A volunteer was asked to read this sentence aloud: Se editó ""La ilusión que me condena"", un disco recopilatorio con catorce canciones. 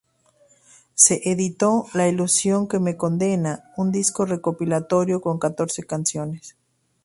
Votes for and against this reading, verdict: 2, 0, accepted